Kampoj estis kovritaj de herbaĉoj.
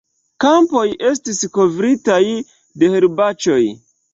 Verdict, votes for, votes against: accepted, 2, 0